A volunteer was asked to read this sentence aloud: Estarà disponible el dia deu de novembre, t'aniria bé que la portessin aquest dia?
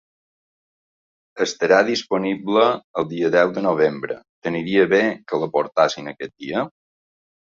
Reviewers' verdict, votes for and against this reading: accepted, 2, 1